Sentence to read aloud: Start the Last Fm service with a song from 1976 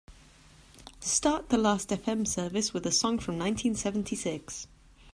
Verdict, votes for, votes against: rejected, 0, 2